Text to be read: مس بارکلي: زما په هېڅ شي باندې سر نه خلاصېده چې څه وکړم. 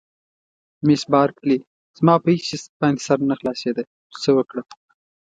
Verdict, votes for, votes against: accepted, 3, 0